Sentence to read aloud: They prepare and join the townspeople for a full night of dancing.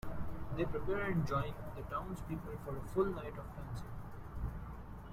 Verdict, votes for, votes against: rejected, 0, 2